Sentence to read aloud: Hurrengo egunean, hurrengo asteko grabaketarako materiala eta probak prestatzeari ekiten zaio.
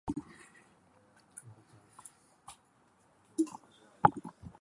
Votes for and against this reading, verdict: 0, 2, rejected